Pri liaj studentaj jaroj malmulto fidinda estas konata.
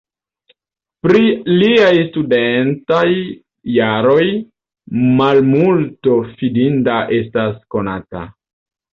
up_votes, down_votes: 1, 2